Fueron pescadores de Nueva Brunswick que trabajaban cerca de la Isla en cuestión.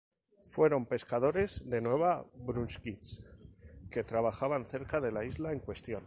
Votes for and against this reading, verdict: 0, 2, rejected